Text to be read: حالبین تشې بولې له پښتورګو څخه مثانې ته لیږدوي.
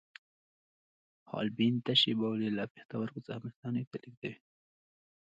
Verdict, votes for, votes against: accepted, 2, 0